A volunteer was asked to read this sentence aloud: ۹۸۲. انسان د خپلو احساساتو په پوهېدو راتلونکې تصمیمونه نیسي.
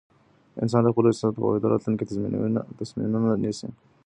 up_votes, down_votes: 0, 2